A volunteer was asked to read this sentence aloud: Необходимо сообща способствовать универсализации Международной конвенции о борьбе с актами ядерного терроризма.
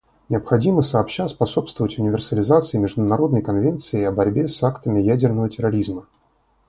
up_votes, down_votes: 2, 0